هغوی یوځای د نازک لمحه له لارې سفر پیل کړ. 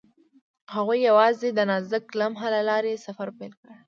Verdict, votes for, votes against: accepted, 2, 1